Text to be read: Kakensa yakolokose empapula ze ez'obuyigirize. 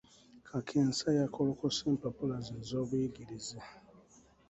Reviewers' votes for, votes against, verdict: 2, 0, accepted